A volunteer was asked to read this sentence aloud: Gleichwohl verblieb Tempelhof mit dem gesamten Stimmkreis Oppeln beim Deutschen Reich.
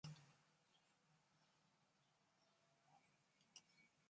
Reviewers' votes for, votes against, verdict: 0, 2, rejected